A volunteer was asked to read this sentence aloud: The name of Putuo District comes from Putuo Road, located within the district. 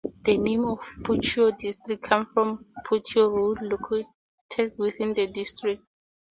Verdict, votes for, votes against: rejected, 0, 2